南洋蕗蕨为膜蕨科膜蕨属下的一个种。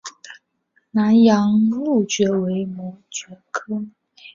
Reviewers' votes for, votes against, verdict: 0, 2, rejected